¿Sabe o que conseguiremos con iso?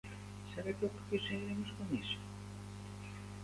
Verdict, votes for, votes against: rejected, 0, 2